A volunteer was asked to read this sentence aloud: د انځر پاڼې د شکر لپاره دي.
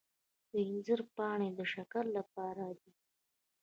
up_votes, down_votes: 1, 2